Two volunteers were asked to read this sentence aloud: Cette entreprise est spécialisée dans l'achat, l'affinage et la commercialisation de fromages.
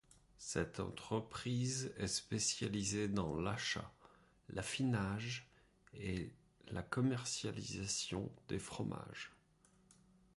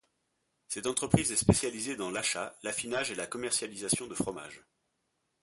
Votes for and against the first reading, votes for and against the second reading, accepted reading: 1, 2, 2, 0, second